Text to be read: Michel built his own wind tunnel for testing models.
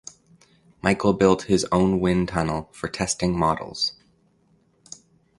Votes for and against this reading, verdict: 2, 0, accepted